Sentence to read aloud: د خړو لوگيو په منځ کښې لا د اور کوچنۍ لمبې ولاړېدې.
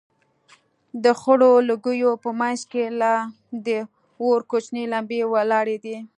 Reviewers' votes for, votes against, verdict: 2, 1, accepted